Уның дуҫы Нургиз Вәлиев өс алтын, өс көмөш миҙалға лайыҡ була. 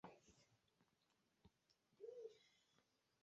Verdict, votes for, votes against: rejected, 0, 2